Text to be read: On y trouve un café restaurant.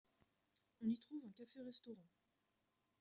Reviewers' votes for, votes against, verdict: 2, 0, accepted